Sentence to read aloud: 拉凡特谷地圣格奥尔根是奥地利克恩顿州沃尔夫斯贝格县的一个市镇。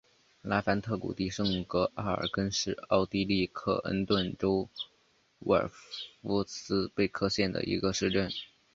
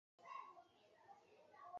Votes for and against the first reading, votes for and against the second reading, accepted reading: 2, 0, 1, 3, first